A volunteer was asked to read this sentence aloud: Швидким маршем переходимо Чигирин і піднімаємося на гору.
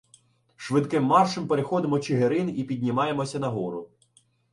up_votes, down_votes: 2, 0